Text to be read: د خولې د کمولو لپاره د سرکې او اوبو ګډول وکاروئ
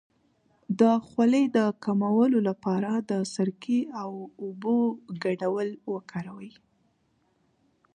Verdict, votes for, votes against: accepted, 2, 0